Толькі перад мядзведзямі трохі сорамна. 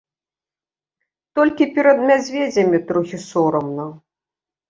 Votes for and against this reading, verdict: 1, 2, rejected